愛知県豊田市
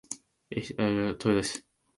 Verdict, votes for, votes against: rejected, 0, 3